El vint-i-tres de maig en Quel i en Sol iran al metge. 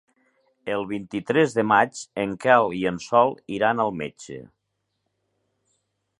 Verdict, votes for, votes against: accepted, 3, 0